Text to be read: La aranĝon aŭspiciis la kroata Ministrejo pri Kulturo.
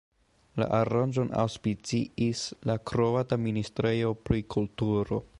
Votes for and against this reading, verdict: 2, 0, accepted